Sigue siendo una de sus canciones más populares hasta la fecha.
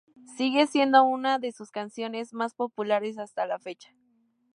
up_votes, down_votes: 2, 0